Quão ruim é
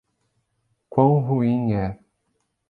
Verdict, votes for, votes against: accepted, 2, 0